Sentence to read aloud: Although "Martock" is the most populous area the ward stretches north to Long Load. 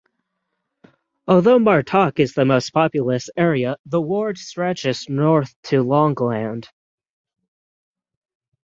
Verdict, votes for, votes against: rejected, 3, 3